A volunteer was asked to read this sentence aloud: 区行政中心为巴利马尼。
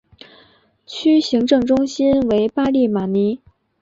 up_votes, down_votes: 2, 0